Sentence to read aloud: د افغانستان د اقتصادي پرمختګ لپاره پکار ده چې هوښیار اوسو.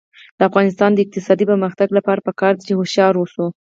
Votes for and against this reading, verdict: 4, 0, accepted